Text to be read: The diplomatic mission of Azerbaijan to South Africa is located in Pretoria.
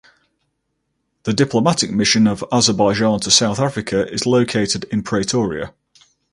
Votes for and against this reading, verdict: 4, 0, accepted